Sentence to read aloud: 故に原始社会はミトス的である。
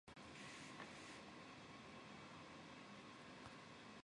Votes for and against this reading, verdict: 0, 6, rejected